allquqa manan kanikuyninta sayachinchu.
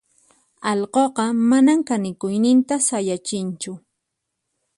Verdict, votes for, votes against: accepted, 4, 0